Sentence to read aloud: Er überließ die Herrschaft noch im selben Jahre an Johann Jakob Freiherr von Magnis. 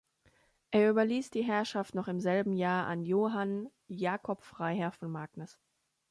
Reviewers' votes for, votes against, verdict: 0, 2, rejected